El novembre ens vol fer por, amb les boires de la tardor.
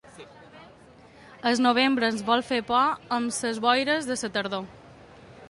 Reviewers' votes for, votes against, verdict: 1, 2, rejected